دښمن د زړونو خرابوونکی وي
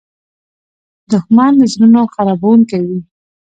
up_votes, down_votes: 1, 2